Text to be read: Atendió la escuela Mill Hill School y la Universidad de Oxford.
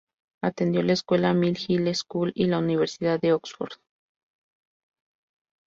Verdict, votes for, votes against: accepted, 2, 0